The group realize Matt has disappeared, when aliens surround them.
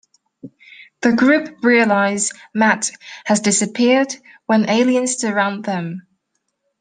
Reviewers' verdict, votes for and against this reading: accepted, 2, 0